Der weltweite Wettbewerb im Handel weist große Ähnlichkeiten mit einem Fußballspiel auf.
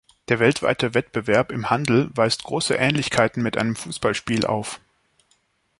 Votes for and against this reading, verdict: 2, 0, accepted